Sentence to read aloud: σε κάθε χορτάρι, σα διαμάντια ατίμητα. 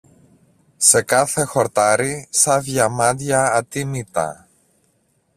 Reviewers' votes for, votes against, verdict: 2, 1, accepted